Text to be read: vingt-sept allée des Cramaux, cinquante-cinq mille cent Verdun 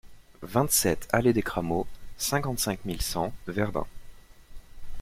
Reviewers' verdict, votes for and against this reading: accepted, 2, 0